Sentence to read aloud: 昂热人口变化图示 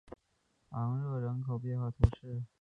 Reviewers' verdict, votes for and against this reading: accepted, 4, 0